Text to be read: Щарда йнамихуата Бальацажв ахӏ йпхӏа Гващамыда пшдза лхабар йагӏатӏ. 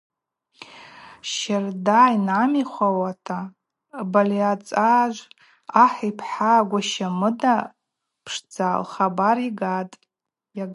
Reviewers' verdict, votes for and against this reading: rejected, 2, 4